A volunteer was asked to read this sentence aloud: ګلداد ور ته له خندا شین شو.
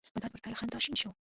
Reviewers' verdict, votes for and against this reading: rejected, 0, 2